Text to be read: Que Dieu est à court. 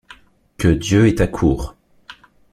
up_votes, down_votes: 2, 0